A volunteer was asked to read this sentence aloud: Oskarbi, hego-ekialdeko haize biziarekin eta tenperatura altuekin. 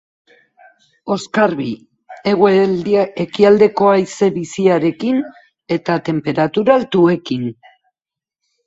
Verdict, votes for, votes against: rejected, 0, 2